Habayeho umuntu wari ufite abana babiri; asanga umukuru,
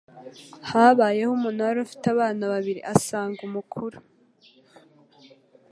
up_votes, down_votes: 2, 0